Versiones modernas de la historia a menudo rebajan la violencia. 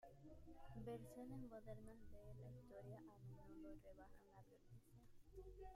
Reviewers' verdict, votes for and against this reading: rejected, 1, 3